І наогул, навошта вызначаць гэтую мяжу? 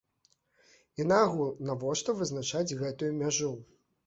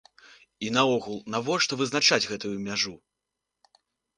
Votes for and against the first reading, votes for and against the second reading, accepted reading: 1, 2, 2, 0, second